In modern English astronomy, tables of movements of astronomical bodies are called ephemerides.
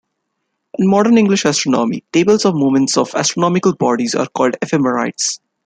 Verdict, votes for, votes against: accepted, 2, 1